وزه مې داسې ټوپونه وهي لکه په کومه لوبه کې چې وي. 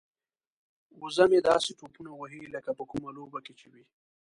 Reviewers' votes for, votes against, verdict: 1, 2, rejected